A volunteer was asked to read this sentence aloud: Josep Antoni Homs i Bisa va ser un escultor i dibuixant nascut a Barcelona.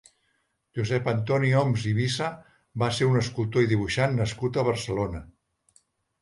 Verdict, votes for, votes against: accepted, 2, 0